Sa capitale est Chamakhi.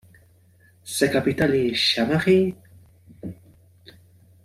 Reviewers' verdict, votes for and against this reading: accepted, 2, 0